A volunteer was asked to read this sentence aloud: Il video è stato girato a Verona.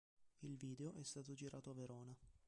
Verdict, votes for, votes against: rejected, 1, 2